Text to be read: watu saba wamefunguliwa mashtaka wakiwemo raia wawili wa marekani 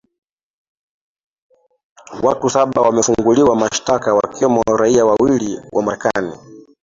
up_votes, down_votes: 2, 0